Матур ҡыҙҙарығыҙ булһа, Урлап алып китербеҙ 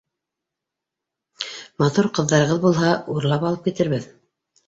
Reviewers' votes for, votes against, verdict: 0, 2, rejected